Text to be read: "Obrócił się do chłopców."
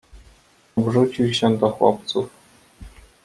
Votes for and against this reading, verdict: 0, 2, rejected